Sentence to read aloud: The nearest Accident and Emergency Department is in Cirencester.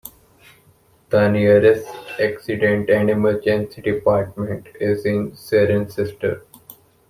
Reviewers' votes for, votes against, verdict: 2, 0, accepted